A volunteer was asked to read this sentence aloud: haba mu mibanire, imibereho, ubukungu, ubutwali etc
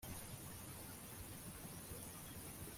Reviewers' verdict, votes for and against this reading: rejected, 0, 2